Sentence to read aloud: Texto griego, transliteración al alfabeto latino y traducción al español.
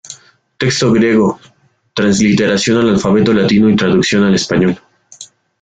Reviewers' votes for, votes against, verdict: 2, 1, accepted